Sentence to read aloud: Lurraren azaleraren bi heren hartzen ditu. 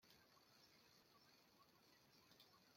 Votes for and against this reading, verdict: 0, 2, rejected